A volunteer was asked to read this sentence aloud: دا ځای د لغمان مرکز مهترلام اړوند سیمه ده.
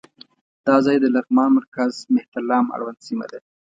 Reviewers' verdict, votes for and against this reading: accepted, 2, 0